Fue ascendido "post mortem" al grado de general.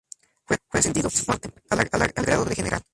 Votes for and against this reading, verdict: 0, 2, rejected